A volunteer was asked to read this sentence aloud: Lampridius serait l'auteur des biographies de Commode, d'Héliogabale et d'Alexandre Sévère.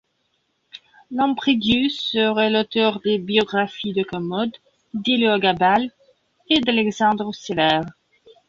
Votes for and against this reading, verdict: 2, 0, accepted